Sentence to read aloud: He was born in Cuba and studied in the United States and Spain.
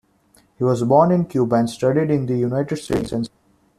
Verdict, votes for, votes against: rejected, 0, 2